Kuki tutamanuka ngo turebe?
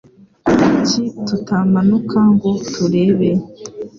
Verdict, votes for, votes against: accepted, 2, 0